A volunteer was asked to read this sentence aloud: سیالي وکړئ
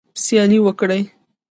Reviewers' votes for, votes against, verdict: 0, 2, rejected